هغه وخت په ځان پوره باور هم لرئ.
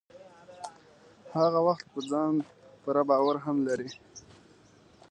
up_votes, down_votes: 2, 0